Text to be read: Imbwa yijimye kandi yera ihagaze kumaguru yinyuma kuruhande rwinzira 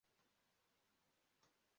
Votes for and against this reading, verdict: 0, 2, rejected